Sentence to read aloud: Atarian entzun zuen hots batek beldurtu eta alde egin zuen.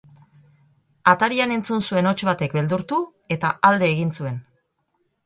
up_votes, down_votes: 4, 0